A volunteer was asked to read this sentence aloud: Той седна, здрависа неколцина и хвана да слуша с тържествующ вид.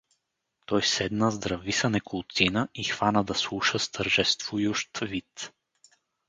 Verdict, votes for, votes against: accepted, 4, 0